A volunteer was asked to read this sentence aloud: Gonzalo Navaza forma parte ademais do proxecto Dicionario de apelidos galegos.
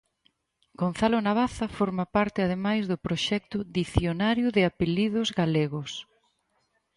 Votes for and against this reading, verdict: 4, 0, accepted